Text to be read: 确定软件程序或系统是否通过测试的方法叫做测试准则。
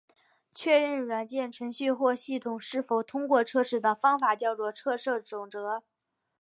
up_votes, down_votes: 3, 1